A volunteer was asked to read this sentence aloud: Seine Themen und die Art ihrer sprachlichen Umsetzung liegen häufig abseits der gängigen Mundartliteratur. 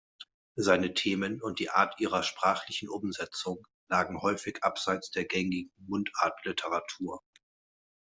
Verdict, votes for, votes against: rejected, 1, 2